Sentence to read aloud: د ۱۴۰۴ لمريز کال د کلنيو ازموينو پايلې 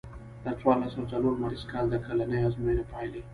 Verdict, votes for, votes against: rejected, 0, 2